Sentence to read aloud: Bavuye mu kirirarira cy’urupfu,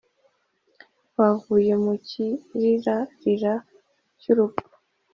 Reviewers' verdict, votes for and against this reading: accepted, 2, 0